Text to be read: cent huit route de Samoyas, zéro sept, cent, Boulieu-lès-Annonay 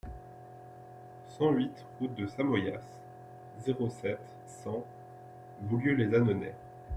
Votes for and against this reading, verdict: 2, 1, accepted